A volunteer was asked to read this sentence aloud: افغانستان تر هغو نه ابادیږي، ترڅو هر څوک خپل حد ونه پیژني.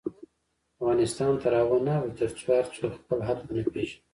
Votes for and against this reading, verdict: 1, 2, rejected